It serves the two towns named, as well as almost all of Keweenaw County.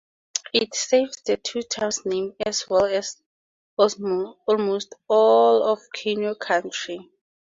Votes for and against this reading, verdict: 0, 4, rejected